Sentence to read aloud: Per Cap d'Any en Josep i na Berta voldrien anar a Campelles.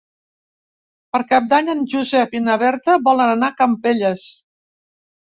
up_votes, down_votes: 0, 2